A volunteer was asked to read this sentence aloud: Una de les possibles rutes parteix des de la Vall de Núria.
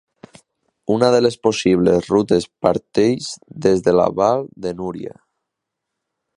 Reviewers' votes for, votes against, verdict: 0, 2, rejected